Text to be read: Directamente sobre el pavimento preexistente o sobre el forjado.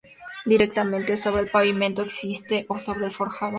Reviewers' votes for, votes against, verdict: 0, 2, rejected